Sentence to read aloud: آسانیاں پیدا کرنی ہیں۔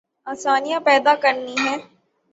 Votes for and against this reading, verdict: 3, 0, accepted